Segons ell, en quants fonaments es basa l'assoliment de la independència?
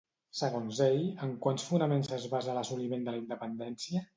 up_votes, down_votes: 2, 0